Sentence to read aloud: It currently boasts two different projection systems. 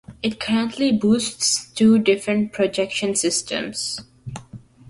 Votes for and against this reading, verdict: 1, 2, rejected